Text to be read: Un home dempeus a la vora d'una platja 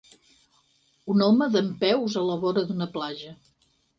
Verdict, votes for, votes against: rejected, 2, 4